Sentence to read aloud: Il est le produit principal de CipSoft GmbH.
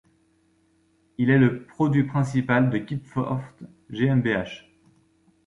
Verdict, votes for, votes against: rejected, 1, 2